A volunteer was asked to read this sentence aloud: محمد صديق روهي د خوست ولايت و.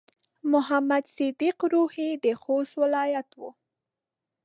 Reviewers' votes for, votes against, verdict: 2, 0, accepted